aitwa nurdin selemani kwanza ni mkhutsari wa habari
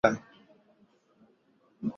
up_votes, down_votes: 0, 2